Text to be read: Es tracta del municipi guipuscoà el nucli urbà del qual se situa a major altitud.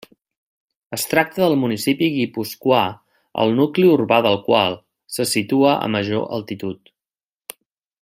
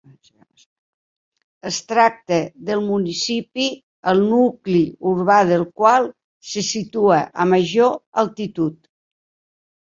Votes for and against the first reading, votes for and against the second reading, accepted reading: 2, 0, 1, 2, first